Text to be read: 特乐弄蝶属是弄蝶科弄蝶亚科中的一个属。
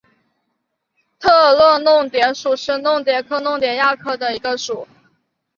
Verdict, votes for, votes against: accepted, 5, 0